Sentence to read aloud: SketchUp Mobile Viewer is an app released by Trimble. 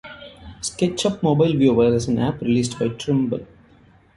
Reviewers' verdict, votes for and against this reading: rejected, 0, 2